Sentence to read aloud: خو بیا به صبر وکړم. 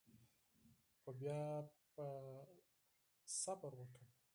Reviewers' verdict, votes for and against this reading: rejected, 2, 4